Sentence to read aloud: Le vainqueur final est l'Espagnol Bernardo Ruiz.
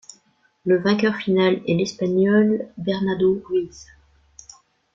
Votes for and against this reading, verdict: 2, 0, accepted